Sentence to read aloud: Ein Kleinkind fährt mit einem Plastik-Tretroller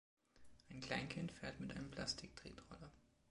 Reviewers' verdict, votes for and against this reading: accepted, 3, 0